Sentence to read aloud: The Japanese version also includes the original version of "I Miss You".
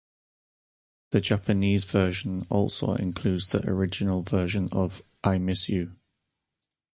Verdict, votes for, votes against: accepted, 4, 0